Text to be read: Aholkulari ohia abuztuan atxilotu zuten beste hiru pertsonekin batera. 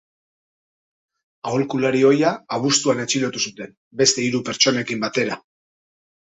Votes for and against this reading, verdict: 2, 0, accepted